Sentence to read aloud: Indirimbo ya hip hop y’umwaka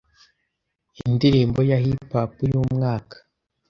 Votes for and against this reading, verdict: 2, 0, accepted